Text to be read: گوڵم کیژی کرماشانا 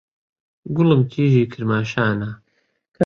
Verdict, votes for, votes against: rejected, 1, 2